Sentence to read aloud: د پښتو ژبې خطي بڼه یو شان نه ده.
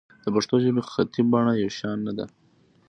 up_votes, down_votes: 2, 0